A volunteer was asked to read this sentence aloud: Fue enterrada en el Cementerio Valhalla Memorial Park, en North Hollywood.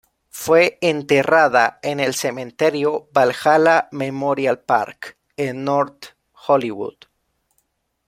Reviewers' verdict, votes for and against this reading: accepted, 2, 0